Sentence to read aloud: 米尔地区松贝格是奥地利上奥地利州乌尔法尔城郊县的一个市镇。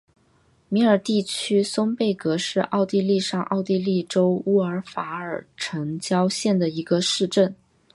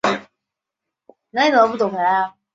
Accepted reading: first